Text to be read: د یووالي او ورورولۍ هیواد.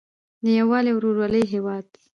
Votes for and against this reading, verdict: 2, 1, accepted